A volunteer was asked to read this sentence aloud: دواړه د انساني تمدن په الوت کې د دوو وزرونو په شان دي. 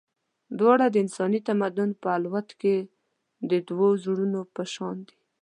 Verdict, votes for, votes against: rejected, 1, 2